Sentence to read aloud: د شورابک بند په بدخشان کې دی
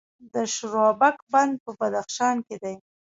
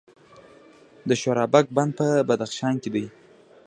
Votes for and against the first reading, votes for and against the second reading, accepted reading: 1, 2, 2, 0, second